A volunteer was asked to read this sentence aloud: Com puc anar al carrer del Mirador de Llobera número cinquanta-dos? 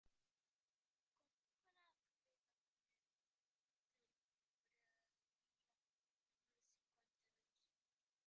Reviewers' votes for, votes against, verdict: 0, 2, rejected